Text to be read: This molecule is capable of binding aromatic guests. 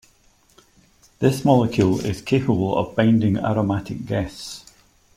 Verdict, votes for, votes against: accepted, 2, 0